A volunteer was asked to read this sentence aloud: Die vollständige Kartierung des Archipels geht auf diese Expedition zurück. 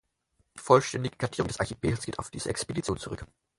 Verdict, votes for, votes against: rejected, 4, 8